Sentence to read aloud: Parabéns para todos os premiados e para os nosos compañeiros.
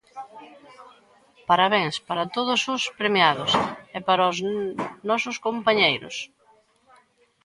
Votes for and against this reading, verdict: 2, 1, accepted